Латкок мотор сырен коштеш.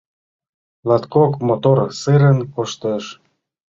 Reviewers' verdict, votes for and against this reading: rejected, 0, 2